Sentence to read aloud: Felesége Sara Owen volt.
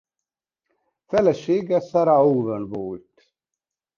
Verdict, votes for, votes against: accepted, 2, 0